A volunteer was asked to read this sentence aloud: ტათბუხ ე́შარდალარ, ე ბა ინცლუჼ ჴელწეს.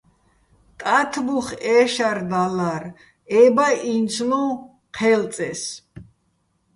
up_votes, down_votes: 1, 2